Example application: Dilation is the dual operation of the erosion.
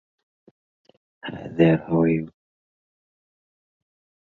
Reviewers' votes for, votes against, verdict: 0, 2, rejected